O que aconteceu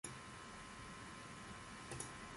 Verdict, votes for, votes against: rejected, 0, 2